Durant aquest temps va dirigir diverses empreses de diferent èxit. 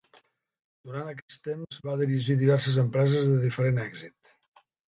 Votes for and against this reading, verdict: 1, 3, rejected